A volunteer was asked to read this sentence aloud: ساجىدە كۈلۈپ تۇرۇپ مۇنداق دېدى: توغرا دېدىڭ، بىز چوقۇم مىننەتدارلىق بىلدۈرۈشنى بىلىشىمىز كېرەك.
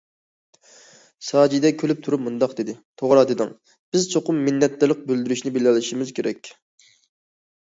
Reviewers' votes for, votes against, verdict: 0, 2, rejected